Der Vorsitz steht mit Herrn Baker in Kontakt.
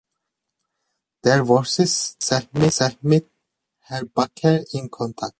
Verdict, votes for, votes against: rejected, 0, 2